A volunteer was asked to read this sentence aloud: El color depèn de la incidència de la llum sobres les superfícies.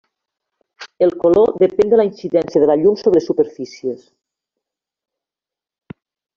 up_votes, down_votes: 0, 2